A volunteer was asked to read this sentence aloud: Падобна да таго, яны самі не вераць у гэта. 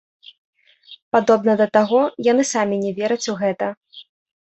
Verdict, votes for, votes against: accepted, 2, 1